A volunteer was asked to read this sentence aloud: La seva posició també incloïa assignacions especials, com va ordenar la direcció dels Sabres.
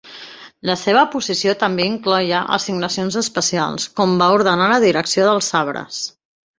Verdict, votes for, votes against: rejected, 0, 2